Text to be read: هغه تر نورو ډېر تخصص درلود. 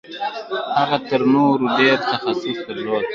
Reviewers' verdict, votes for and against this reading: accepted, 2, 1